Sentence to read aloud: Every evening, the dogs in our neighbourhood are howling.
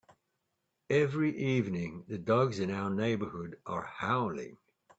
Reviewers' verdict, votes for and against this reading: accepted, 2, 0